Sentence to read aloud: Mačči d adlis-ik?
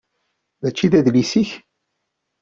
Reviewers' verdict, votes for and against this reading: accepted, 2, 0